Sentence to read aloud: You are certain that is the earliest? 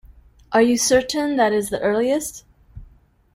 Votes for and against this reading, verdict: 1, 2, rejected